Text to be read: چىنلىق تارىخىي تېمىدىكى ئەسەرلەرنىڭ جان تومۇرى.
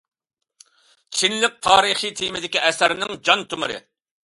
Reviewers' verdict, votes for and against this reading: rejected, 0, 2